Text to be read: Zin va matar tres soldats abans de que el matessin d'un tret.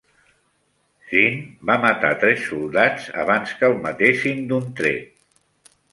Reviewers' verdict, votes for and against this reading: rejected, 1, 2